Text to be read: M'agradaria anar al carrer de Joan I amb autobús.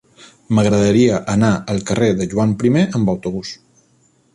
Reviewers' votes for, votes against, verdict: 3, 0, accepted